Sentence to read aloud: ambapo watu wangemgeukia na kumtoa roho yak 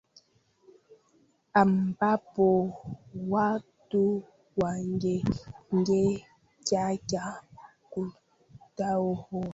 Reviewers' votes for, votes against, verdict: 0, 2, rejected